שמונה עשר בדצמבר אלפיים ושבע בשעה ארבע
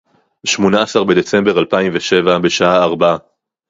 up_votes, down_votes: 2, 2